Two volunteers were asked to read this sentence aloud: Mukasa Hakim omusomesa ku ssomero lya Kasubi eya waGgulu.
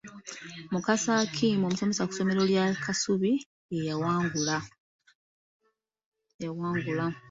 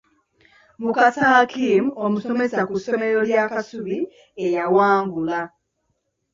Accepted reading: second